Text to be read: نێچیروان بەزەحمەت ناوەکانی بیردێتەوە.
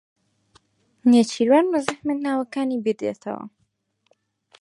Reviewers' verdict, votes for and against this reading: rejected, 2, 4